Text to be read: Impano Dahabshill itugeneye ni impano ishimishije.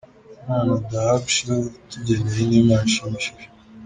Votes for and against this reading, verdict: 2, 1, accepted